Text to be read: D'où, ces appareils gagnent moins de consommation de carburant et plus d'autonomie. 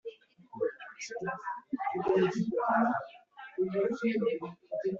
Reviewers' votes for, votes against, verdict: 0, 2, rejected